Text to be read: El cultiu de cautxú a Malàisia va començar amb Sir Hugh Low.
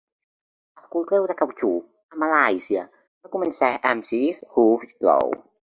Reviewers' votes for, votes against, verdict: 3, 1, accepted